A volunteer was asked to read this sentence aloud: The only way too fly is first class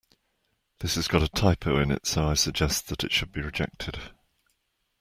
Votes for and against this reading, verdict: 0, 2, rejected